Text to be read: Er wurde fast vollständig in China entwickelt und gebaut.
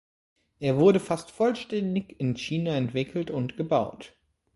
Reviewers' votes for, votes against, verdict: 3, 0, accepted